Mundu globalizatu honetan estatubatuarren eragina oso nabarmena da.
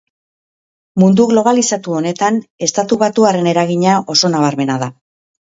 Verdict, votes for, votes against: accepted, 5, 0